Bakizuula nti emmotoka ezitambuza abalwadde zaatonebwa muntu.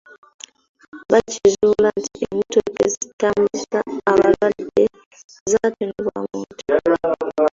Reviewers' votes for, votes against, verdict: 0, 2, rejected